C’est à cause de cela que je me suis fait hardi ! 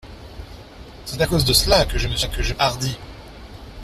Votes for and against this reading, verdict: 0, 2, rejected